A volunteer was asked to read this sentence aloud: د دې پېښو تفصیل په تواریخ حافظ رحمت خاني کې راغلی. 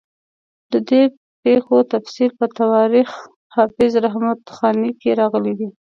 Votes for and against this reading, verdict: 1, 2, rejected